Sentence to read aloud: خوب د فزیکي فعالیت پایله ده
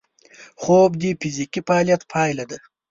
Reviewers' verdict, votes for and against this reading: rejected, 1, 2